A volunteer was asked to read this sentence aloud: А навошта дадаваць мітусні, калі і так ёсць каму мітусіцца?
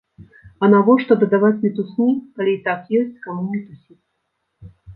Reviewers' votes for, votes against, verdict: 1, 2, rejected